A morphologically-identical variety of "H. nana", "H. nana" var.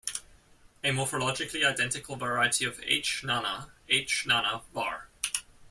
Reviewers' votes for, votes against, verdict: 2, 0, accepted